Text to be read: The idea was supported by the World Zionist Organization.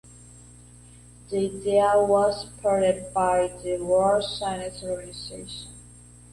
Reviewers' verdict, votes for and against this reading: accepted, 2, 1